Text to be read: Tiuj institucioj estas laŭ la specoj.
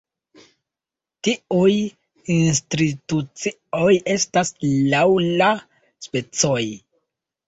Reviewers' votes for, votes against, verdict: 1, 2, rejected